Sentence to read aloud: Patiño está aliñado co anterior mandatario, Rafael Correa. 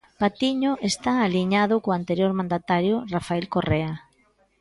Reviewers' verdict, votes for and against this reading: accepted, 2, 0